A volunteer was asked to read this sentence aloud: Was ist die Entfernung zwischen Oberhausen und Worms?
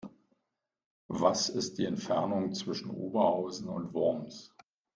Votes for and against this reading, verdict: 2, 0, accepted